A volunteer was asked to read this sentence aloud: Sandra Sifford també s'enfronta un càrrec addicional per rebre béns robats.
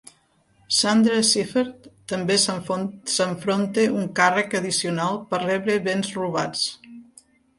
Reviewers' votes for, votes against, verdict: 0, 3, rejected